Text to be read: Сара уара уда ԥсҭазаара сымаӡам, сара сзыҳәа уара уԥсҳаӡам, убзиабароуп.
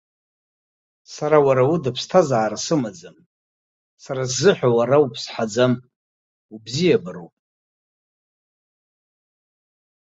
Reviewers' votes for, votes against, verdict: 2, 1, accepted